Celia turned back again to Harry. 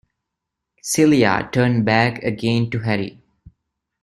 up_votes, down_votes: 2, 0